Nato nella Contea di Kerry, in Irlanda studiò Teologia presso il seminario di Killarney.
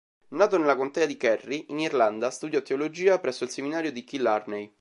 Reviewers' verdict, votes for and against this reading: accepted, 2, 0